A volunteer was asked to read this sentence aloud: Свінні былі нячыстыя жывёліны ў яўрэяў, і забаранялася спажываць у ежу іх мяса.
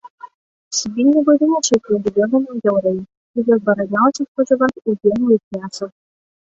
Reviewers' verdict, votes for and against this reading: rejected, 0, 2